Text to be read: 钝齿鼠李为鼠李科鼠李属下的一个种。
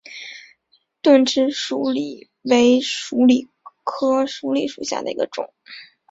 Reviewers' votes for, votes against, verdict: 5, 0, accepted